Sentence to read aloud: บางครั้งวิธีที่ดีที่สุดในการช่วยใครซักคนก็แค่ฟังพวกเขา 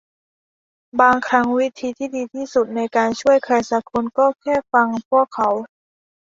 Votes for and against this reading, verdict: 2, 0, accepted